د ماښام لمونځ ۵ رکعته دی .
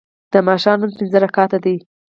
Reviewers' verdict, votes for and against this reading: rejected, 0, 2